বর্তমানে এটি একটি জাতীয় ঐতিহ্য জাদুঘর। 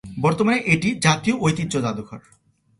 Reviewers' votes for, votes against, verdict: 1, 2, rejected